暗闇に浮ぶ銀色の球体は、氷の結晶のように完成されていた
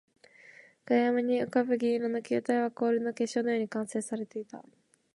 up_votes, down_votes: 2, 0